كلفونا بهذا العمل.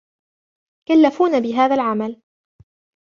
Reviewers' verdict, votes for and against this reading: accepted, 2, 0